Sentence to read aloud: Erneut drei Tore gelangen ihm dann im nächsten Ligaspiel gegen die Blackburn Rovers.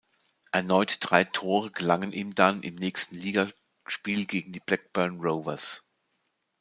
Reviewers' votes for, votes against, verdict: 0, 2, rejected